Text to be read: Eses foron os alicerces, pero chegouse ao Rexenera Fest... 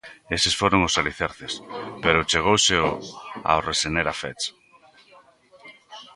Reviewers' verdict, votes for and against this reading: rejected, 0, 2